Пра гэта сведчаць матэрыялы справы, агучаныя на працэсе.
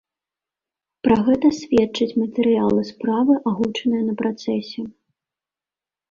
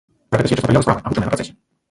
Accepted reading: first